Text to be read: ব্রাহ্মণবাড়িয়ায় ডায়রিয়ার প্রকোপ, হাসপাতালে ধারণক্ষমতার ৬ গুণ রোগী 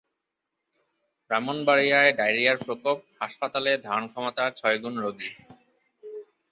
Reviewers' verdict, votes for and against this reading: rejected, 0, 2